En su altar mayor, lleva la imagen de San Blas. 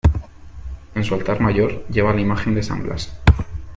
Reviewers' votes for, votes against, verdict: 2, 0, accepted